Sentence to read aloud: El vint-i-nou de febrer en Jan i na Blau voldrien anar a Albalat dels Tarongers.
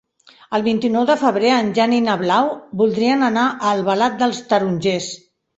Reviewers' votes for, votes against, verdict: 3, 0, accepted